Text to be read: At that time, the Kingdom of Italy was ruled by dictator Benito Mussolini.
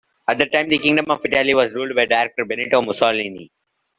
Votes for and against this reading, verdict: 1, 2, rejected